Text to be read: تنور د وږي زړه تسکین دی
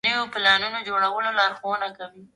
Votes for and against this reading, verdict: 2, 1, accepted